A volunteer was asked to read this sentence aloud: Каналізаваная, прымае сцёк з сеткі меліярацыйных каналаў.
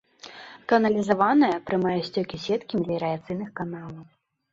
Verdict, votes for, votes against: rejected, 0, 2